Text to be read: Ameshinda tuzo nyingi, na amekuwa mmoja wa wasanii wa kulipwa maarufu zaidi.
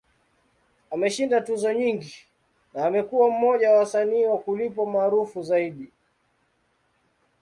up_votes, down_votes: 2, 0